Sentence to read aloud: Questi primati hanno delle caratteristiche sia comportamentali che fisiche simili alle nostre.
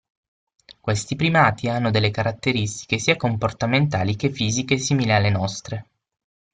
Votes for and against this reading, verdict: 6, 0, accepted